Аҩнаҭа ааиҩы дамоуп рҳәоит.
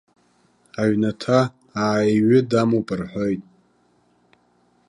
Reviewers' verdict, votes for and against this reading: rejected, 1, 2